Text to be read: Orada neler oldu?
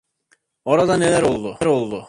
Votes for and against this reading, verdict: 0, 2, rejected